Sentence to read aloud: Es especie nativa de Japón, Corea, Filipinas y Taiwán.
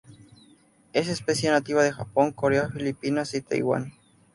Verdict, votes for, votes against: accepted, 2, 0